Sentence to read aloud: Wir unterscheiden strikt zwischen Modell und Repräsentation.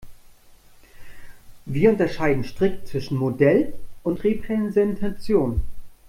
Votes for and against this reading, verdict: 1, 2, rejected